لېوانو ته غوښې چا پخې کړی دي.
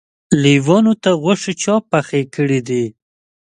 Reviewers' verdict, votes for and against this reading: accepted, 2, 0